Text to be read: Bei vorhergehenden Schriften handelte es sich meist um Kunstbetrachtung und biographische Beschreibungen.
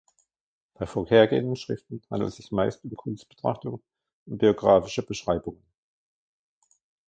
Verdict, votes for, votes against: rejected, 1, 2